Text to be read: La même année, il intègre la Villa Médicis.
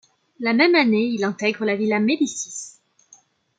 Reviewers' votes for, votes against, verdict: 2, 0, accepted